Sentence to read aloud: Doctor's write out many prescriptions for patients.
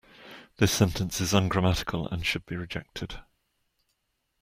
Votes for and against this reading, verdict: 1, 3, rejected